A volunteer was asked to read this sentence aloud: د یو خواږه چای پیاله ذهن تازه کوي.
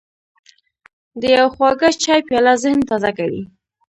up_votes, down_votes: 0, 2